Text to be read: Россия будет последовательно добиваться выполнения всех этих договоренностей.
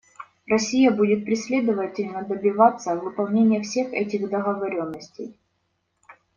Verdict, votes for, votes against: rejected, 0, 2